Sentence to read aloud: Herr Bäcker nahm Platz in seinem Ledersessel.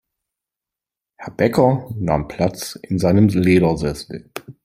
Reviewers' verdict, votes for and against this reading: rejected, 1, 3